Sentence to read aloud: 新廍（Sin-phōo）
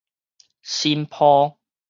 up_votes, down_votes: 2, 2